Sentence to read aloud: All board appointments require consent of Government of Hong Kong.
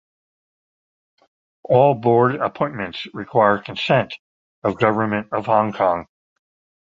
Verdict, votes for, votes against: accepted, 2, 0